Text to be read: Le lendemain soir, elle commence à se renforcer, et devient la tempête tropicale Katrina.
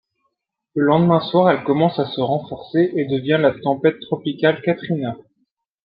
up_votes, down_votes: 2, 0